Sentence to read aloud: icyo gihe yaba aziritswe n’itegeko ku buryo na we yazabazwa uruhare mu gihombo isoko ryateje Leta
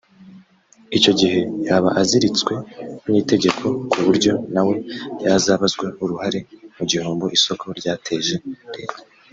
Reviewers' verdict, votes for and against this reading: accepted, 3, 0